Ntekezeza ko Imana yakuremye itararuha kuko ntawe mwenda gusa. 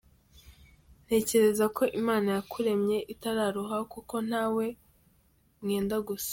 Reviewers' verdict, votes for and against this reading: rejected, 1, 2